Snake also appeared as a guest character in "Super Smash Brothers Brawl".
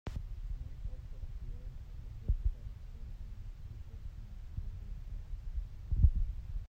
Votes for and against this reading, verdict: 0, 2, rejected